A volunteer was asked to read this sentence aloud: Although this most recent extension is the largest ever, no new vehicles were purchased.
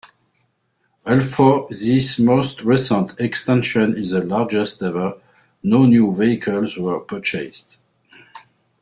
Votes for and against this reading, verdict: 1, 2, rejected